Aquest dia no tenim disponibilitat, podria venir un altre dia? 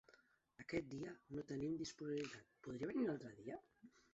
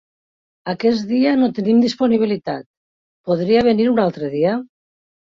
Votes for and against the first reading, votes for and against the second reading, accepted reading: 0, 3, 3, 0, second